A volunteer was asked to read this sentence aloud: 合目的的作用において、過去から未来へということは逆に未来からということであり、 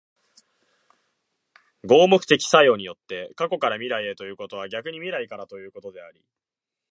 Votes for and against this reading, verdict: 1, 2, rejected